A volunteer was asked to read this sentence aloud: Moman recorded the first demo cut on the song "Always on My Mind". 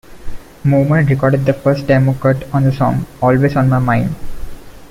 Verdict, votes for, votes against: accepted, 2, 0